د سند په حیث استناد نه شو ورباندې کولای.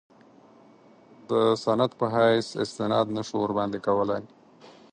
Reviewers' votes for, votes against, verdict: 4, 0, accepted